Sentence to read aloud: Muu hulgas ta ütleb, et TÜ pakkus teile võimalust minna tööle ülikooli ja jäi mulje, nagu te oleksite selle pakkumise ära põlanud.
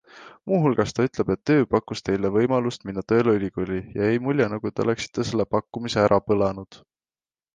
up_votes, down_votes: 2, 1